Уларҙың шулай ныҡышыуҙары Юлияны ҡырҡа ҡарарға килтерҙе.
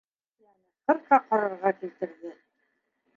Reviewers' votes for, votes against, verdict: 1, 2, rejected